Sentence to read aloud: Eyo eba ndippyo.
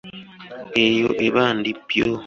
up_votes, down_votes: 2, 0